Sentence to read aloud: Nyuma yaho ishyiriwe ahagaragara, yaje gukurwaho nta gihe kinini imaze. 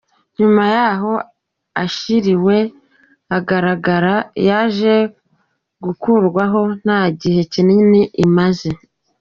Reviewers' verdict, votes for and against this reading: rejected, 1, 2